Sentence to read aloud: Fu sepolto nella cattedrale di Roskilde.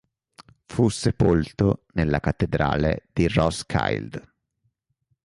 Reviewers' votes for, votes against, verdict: 2, 0, accepted